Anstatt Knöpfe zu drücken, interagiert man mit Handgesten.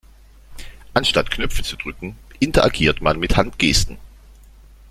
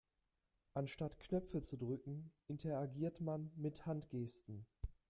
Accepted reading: second